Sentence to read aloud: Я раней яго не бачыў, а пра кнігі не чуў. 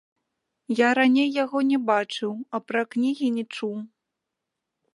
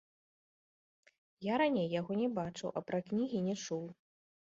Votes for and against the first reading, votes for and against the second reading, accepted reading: 1, 2, 2, 1, second